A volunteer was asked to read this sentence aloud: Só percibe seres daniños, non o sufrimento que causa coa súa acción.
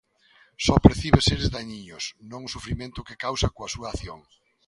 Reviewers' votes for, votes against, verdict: 0, 2, rejected